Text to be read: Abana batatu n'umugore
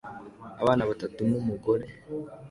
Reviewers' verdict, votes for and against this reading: accepted, 2, 0